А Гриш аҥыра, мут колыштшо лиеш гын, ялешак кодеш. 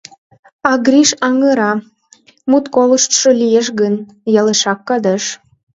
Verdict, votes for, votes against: rejected, 0, 2